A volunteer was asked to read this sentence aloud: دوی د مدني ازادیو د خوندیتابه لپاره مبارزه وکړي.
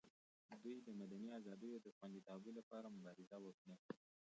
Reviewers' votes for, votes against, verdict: 0, 2, rejected